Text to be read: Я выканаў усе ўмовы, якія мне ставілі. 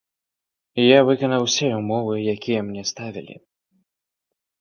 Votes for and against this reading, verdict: 2, 0, accepted